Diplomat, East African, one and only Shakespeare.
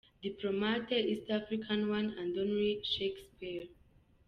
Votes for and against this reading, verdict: 2, 0, accepted